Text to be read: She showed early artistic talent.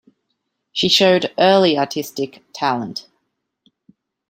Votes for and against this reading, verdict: 2, 0, accepted